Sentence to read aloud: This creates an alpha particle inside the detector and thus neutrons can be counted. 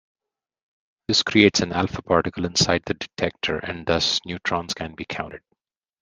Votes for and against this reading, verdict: 2, 0, accepted